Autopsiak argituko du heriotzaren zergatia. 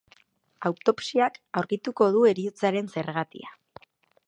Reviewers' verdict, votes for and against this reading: rejected, 2, 4